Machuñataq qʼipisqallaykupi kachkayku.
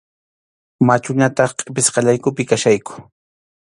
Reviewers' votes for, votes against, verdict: 2, 0, accepted